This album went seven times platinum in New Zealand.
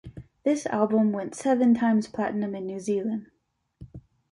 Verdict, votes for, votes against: accepted, 2, 0